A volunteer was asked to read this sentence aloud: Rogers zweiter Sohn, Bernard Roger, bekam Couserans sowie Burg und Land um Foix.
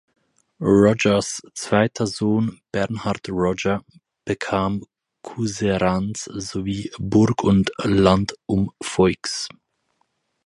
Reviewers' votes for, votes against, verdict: 4, 0, accepted